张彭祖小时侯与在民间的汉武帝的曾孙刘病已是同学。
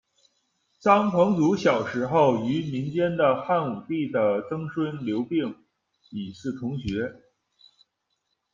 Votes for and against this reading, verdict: 0, 2, rejected